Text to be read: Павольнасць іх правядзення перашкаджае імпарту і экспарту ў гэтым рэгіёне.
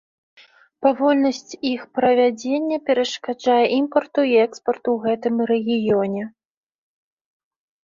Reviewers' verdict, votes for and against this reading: accepted, 3, 0